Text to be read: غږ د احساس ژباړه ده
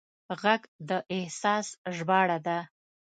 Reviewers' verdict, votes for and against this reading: accepted, 2, 0